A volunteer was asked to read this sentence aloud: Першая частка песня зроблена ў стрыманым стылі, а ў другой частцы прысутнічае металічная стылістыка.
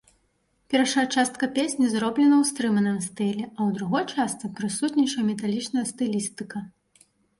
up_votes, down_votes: 1, 2